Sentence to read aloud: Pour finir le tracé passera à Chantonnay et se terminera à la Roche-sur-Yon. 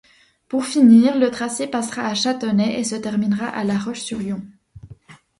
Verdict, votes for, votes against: accepted, 2, 0